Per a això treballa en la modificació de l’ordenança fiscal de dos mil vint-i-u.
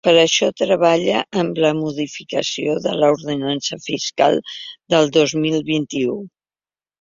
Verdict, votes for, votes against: rejected, 1, 2